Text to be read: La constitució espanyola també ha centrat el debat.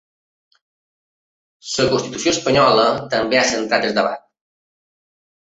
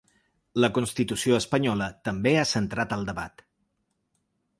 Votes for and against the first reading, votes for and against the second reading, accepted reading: 2, 4, 2, 0, second